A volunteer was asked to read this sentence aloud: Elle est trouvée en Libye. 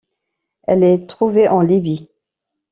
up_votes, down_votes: 2, 0